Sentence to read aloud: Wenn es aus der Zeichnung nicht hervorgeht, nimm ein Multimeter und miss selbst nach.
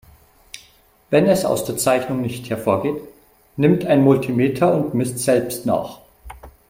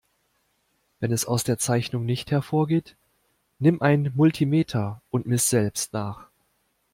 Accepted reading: second